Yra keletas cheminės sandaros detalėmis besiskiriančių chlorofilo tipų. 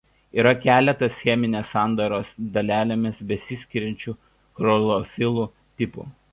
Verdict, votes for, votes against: rejected, 0, 2